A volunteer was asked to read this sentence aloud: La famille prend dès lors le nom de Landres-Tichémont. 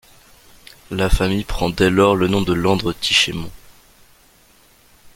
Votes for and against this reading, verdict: 2, 0, accepted